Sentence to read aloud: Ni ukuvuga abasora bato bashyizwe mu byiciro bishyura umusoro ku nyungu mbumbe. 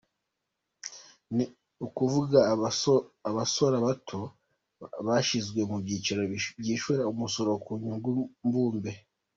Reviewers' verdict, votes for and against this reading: rejected, 1, 2